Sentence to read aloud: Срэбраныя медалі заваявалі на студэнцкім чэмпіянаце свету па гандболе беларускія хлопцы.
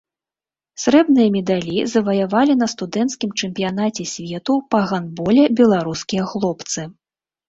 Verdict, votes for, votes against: rejected, 0, 2